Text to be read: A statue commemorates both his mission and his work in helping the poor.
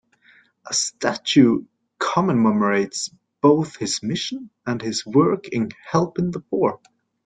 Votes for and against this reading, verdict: 0, 2, rejected